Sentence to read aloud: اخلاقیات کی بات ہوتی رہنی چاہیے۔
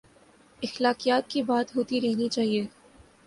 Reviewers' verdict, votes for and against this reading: accepted, 3, 0